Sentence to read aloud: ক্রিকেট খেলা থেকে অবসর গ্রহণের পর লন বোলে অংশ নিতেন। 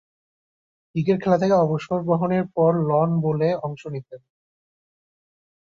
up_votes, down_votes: 2, 0